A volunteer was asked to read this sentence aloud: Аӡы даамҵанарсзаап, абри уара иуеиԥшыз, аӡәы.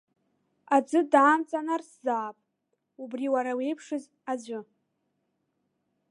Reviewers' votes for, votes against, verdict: 0, 2, rejected